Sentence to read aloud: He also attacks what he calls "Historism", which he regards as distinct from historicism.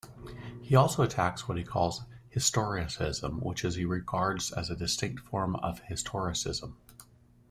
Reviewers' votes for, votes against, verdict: 0, 2, rejected